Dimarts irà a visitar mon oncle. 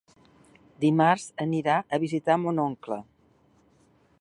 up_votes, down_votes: 2, 1